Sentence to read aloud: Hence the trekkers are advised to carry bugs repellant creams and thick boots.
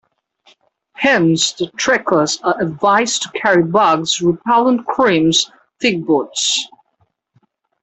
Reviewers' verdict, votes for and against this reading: rejected, 0, 2